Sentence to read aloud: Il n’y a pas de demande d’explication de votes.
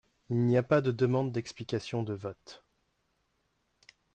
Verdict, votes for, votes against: accepted, 2, 0